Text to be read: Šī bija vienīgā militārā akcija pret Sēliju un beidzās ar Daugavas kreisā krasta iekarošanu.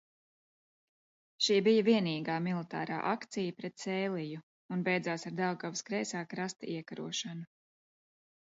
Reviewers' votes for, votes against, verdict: 2, 0, accepted